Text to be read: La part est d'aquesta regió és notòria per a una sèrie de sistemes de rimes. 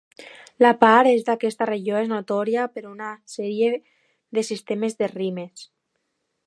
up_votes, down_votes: 2, 0